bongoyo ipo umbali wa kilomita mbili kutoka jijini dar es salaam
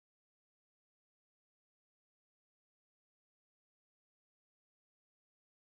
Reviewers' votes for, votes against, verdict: 0, 2, rejected